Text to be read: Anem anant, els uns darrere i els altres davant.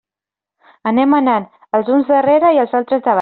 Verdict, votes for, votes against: rejected, 0, 2